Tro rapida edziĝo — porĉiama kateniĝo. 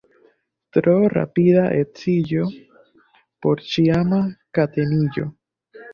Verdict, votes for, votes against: rejected, 0, 2